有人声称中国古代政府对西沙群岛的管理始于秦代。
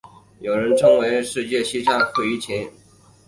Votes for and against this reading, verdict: 2, 3, rejected